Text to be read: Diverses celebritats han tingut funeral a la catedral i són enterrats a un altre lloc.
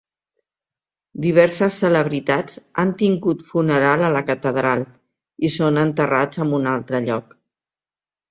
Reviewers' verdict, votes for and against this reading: rejected, 2, 3